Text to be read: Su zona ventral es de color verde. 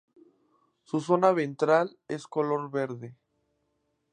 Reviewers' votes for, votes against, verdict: 0, 2, rejected